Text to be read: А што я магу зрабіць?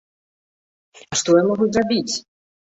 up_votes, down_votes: 1, 2